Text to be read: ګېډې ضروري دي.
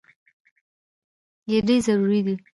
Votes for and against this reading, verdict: 1, 2, rejected